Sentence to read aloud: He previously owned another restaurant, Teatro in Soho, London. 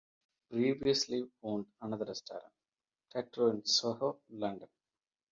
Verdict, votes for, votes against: rejected, 0, 2